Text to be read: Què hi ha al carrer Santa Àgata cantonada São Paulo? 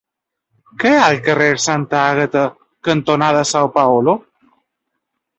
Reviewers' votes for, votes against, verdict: 1, 2, rejected